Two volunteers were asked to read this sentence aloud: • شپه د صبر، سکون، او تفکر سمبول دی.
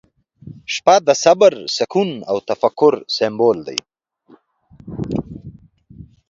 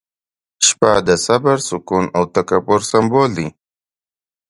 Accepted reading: first